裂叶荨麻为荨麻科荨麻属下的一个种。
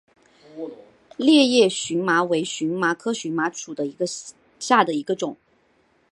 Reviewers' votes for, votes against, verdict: 2, 1, accepted